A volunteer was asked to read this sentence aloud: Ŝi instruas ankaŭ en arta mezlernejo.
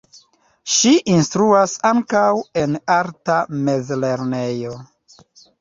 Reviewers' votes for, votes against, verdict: 2, 0, accepted